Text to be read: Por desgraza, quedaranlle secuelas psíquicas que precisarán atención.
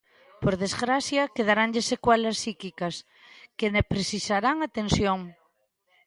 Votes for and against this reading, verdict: 0, 2, rejected